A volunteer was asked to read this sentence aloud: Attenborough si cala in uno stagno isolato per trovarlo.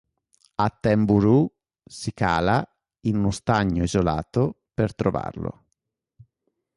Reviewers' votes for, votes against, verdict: 2, 0, accepted